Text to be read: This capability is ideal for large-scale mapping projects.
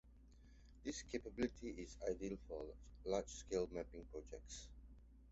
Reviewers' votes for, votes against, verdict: 2, 0, accepted